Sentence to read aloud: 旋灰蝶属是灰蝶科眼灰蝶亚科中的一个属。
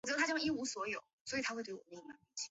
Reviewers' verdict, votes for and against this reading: rejected, 0, 2